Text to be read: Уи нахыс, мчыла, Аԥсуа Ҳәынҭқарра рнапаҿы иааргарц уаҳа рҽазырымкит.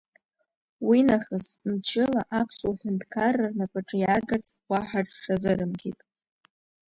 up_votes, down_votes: 2, 0